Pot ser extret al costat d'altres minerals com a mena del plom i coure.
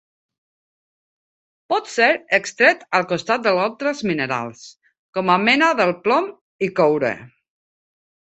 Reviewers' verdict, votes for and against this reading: rejected, 0, 2